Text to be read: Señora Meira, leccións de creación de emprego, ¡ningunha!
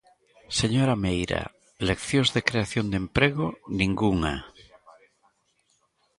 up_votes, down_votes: 2, 1